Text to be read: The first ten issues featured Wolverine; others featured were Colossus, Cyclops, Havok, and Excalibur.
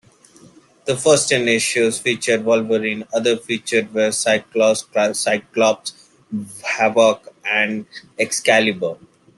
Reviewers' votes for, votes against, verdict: 1, 2, rejected